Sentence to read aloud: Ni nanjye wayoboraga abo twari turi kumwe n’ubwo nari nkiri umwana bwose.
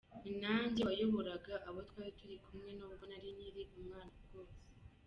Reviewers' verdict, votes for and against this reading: rejected, 0, 2